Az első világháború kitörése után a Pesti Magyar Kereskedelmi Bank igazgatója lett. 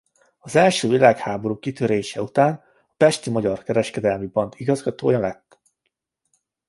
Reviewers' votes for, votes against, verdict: 2, 0, accepted